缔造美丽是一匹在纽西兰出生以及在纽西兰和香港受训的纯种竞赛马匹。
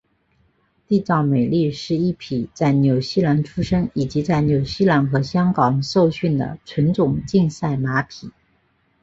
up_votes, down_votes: 2, 1